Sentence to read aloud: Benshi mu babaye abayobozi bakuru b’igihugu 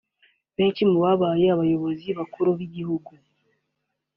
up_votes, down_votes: 2, 1